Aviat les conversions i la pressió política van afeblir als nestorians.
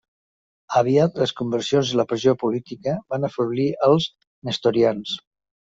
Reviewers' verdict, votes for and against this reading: accepted, 2, 0